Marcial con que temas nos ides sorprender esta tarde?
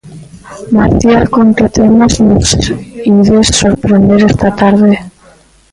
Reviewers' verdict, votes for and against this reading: rejected, 0, 2